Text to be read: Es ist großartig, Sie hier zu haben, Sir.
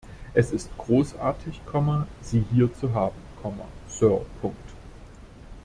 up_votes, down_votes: 0, 2